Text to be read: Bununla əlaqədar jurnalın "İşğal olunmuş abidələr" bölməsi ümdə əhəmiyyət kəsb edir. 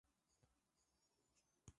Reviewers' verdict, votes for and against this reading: rejected, 0, 2